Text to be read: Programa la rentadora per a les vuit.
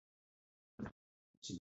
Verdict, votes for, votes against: rejected, 0, 2